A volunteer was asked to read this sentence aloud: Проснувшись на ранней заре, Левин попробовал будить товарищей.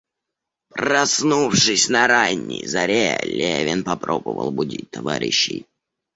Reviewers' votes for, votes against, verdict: 2, 0, accepted